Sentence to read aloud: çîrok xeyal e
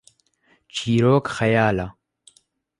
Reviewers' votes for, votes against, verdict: 0, 2, rejected